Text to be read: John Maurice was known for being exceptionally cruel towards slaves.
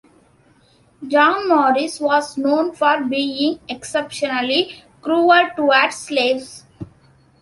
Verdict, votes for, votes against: accepted, 2, 0